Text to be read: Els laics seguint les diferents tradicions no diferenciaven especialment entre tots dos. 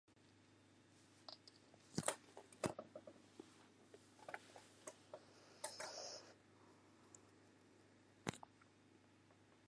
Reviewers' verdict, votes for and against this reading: rejected, 0, 2